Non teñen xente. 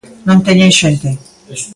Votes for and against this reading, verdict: 1, 2, rejected